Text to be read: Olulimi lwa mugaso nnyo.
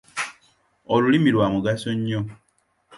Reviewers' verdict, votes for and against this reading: accepted, 2, 0